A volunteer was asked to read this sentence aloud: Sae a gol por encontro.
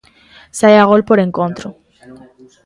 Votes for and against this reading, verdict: 2, 0, accepted